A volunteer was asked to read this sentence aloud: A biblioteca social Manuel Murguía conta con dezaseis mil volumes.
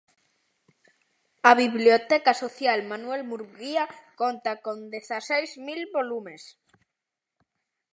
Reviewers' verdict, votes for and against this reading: accepted, 2, 0